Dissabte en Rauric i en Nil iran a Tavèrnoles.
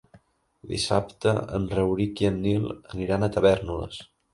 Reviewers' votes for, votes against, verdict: 0, 2, rejected